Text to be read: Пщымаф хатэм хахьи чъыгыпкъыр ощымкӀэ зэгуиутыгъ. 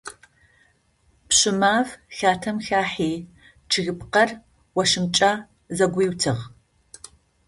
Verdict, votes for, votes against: accepted, 2, 0